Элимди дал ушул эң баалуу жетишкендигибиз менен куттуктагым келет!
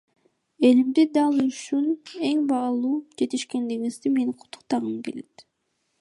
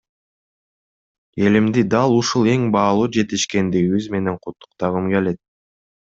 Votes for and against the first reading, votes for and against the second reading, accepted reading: 1, 2, 2, 0, second